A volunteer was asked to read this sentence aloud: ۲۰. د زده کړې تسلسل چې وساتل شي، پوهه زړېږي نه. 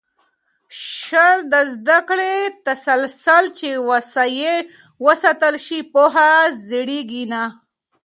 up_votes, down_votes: 0, 2